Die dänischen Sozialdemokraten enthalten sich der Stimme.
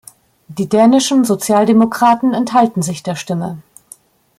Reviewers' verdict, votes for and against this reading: accepted, 2, 0